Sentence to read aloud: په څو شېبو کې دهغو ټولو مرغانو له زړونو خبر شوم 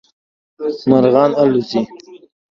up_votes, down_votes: 0, 2